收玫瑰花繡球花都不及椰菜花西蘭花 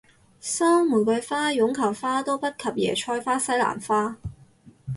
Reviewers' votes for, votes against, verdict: 0, 4, rejected